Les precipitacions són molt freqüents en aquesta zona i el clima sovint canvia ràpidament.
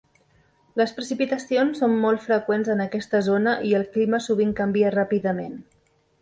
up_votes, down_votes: 3, 0